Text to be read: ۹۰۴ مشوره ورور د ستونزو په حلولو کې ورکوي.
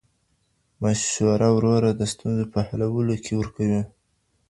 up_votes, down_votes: 0, 2